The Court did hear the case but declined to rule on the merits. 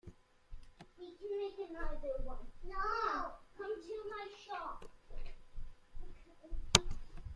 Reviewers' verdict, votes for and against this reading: rejected, 0, 2